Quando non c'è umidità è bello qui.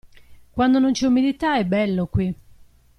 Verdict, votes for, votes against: accepted, 2, 0